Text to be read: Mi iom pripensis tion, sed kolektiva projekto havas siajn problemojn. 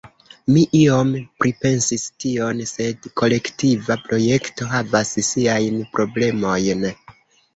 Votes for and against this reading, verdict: 2, 0, accepted